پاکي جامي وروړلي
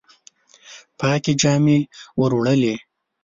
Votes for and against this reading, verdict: 2, 0, accepted